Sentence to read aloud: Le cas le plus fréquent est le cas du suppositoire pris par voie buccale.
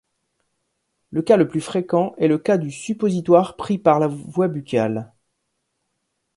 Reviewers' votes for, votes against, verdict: 0, 2, rejected